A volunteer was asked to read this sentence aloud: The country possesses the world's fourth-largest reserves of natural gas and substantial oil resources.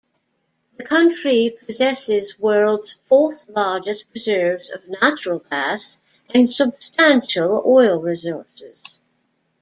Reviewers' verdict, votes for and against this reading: rejected, 1, 2